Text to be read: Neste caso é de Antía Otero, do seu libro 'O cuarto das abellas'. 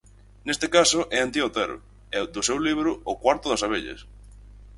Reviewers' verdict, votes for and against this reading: rejected, 2, 4